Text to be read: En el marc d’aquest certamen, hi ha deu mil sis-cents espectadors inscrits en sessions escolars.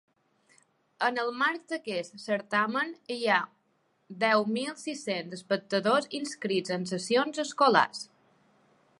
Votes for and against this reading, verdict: 3, 0, accepted